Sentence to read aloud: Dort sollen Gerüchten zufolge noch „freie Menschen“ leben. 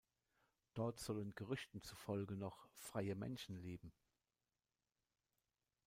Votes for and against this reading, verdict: 2, 0, accepted